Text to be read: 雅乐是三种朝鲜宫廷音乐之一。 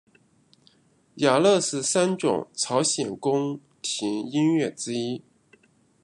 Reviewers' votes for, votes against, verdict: 0, 2, rejected